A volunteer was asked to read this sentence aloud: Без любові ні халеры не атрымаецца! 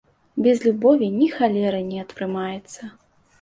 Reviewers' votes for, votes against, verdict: 2, 0, accepted